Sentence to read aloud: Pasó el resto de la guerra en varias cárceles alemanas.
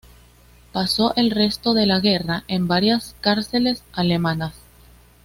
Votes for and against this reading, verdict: 2, 0, accepted